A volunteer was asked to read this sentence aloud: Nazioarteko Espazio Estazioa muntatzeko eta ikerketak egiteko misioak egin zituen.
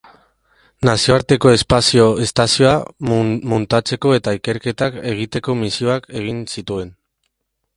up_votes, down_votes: 0, 2